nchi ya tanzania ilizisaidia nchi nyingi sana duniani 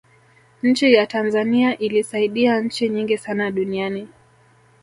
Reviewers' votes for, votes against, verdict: 1, 2, rejected